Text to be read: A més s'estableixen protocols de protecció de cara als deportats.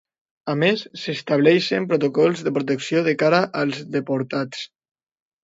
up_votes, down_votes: 2, 0